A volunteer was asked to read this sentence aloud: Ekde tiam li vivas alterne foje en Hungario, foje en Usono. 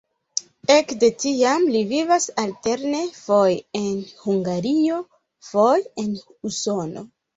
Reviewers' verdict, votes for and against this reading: rejected, 1, 3